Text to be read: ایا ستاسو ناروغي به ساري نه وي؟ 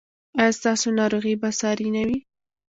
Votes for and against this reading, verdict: 2, 1, accepted